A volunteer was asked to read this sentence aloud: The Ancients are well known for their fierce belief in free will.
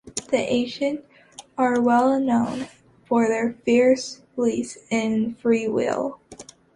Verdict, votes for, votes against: accepted, 3, 1